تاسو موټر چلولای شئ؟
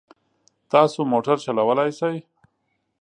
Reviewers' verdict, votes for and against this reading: accepted, 2, 0